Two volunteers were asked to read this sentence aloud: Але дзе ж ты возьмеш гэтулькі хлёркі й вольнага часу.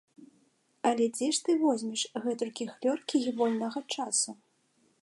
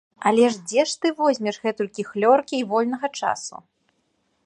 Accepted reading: first